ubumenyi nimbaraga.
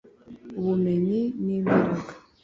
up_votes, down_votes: 2, 0